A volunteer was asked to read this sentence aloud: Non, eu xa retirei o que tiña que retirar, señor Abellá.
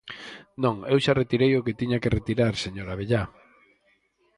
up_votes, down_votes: 4, 0